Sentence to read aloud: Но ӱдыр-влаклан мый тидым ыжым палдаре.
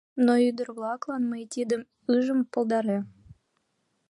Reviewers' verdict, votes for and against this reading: rejected, 1, 2